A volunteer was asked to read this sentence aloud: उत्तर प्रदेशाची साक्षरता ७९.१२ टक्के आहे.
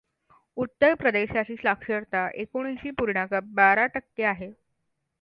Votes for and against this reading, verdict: 0, 2, rejected